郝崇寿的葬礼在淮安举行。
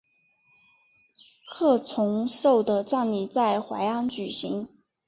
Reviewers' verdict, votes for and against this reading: accepted, 4, 0